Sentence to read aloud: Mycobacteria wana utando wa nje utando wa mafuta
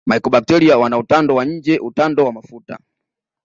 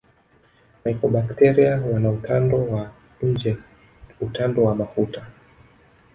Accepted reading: first